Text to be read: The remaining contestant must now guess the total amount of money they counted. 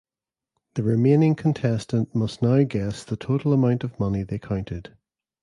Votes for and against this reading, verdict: 2, 1, accepted